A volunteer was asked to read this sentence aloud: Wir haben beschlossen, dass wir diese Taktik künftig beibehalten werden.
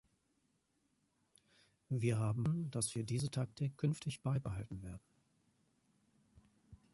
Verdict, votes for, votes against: rejected, 0, 2